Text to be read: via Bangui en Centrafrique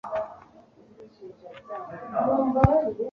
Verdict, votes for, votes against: rejected, 1, 2